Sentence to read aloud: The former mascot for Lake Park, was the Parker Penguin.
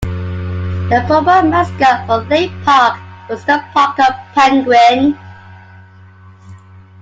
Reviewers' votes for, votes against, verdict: 2, 1, accepted